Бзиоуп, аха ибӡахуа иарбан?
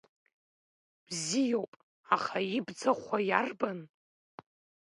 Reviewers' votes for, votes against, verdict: 2, 0, accepted